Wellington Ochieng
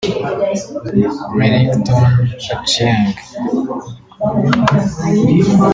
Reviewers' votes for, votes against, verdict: 0, 2, rejected